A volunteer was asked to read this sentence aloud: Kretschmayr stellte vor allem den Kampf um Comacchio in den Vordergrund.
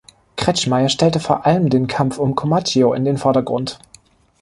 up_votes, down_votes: 2, 0